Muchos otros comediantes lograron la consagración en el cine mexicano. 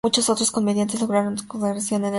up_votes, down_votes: 0, 2